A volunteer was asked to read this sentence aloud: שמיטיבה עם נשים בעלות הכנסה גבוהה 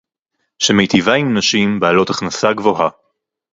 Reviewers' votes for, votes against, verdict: 2, 0, accepted